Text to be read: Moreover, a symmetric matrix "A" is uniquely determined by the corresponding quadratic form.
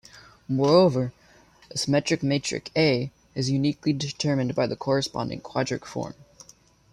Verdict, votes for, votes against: accepted, 2, 1